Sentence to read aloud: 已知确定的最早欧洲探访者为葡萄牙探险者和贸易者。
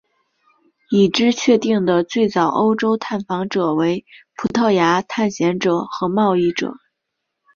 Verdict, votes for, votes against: accepted, 4, 0